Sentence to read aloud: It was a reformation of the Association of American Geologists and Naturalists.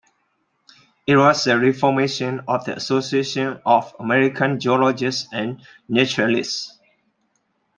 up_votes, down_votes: 2, 0